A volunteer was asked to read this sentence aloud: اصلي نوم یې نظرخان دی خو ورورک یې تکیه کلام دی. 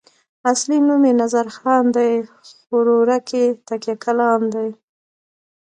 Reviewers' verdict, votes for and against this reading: accepted, 2, 0